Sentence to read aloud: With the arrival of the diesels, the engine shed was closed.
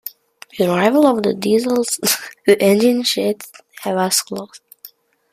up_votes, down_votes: 1, 2